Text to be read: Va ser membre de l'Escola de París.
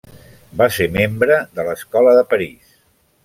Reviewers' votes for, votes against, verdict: 3, 0, accepted